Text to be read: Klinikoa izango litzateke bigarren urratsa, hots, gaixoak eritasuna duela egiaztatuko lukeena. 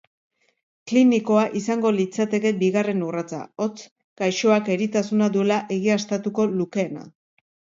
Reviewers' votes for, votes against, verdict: 2, 0, accepted